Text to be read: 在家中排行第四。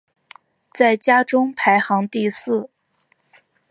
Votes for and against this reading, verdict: 4, 1, accepted